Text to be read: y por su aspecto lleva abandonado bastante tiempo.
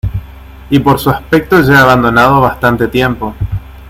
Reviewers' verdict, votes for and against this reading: accepted, 2, 0